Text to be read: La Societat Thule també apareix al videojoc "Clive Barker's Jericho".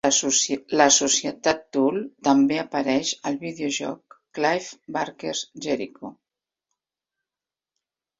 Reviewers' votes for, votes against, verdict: 0, 3, rejected